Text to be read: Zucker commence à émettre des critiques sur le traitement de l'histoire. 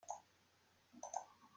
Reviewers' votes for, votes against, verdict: 0, 2, rejected